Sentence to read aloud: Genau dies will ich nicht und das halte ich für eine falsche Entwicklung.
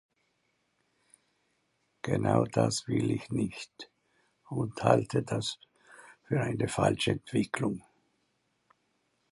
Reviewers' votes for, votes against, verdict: 0, 2, rejected